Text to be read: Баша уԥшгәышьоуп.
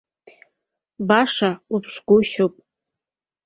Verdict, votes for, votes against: accepted, 2, 0